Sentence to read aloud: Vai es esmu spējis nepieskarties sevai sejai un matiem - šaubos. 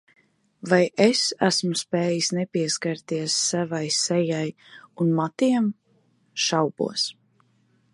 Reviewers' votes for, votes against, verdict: 1, 2, rejected